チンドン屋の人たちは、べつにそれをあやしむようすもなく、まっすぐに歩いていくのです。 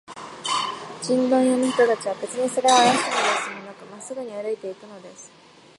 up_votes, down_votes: 1, 2